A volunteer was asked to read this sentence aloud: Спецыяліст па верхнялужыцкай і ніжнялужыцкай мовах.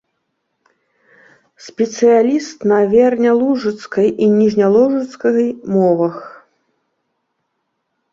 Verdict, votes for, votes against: rejected, 0, 2